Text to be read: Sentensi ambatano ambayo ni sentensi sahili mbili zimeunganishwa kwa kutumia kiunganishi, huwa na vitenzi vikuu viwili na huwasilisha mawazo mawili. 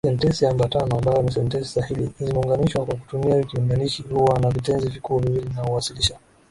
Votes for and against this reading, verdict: 4, 6, rejected